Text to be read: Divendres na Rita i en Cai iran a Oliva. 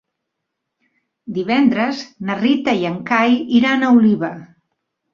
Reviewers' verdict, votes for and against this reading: accepted, 3, 0